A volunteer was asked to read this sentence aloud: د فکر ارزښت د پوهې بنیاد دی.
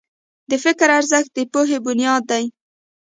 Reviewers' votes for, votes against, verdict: 2, 0, accepted